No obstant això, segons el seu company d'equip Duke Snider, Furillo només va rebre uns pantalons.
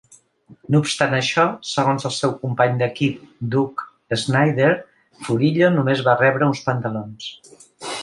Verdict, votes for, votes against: accepted, 3, 0